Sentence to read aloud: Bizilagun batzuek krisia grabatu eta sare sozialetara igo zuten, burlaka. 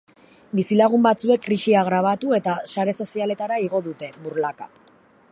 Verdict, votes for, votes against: rejected, 1, 2